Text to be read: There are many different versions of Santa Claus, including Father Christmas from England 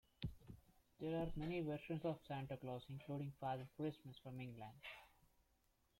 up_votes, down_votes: 1, 2